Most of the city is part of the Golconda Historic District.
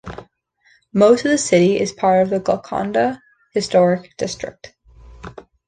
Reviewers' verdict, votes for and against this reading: accepted, 2, 0